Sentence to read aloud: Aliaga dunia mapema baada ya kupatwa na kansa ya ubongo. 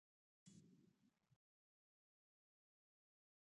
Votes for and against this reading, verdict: 0, 2, rejected